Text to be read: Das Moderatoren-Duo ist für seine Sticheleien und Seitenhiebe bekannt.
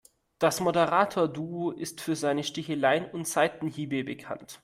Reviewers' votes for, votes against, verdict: 0, 2, rejected